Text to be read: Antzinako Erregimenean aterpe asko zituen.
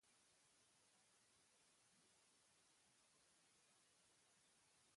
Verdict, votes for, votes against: rejected, 0, 3